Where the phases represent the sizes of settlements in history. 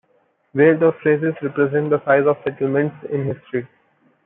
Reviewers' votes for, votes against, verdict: 1, 2, rejected